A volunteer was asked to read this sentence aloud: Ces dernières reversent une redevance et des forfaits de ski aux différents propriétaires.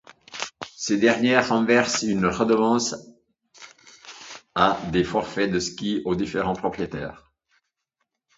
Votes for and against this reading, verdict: 1, 2, rejected